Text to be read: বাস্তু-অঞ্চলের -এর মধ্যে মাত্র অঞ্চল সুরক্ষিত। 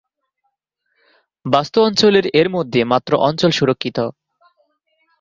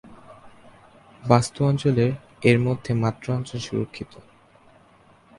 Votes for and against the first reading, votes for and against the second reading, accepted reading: 0, 2, 2, 0, second